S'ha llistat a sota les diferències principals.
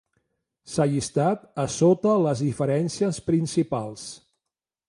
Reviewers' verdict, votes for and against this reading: accepted, 2, 0